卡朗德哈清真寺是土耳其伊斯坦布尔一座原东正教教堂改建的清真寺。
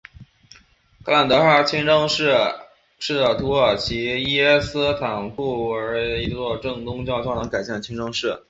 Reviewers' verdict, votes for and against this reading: rejected, 2, 2